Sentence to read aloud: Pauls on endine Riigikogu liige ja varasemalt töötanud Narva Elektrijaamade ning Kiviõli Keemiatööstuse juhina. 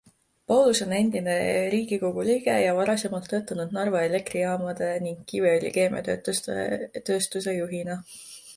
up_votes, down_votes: 0, 2